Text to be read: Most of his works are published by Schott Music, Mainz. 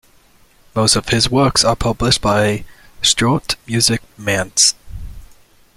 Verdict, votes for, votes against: accepted, 2, 1